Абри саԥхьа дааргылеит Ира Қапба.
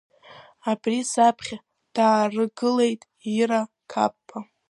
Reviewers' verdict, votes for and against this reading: accepted, 2, 1